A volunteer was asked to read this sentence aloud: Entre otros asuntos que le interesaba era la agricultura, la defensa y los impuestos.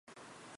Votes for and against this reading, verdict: 0, 2, rejected